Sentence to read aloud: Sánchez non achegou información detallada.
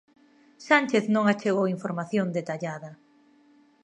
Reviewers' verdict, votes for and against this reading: accepted, 2, 0